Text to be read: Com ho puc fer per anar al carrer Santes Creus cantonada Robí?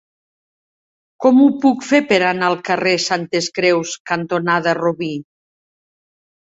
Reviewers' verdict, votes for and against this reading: accepted, 2, 1